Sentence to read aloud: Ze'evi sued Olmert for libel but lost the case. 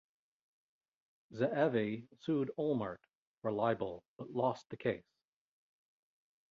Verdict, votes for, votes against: rejected, 0, 2